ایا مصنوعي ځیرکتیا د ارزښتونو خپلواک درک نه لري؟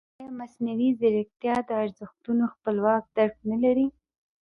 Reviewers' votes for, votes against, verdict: 0, 2, rejected